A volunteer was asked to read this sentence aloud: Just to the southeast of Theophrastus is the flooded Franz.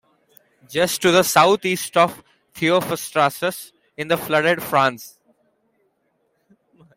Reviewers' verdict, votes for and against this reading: accepted, 2, 0